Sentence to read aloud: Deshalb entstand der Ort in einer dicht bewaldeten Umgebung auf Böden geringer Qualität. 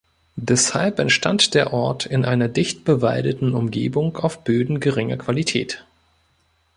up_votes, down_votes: 1, 2